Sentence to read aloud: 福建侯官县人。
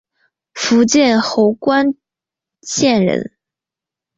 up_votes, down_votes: 2, 1